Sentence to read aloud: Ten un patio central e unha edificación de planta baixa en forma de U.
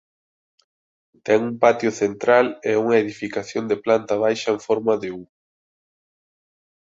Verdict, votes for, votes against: accepted, 2, 1